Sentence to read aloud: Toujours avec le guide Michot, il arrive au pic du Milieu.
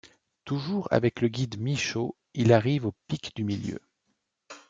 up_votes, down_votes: 2, 0